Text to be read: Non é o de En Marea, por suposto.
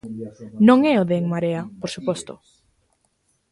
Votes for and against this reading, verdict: 1, 2, rejected